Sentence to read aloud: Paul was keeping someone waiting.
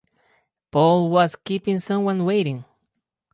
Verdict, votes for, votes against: accepted, 2, 0